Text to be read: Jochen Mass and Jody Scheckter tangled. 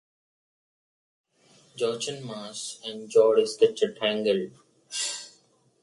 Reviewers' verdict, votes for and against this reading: rejected, 1, 2